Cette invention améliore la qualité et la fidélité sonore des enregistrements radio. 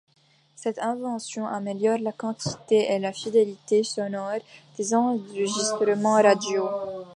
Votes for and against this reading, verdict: 0, 2, rejected